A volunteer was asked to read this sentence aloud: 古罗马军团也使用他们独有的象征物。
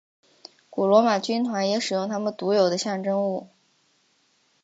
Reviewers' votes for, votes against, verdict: 6, 0, accepted